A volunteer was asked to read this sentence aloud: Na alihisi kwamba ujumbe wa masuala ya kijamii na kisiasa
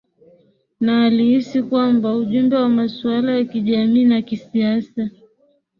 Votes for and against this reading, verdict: 0, 2, rejected